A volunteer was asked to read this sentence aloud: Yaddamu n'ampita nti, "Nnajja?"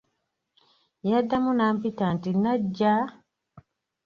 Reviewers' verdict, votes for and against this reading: rejected, 1, 2